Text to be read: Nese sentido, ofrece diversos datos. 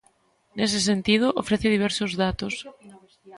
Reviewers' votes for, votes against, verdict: 2, 0, accepted